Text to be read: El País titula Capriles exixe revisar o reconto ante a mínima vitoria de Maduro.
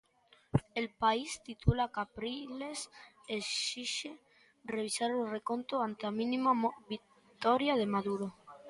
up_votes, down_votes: 1, 2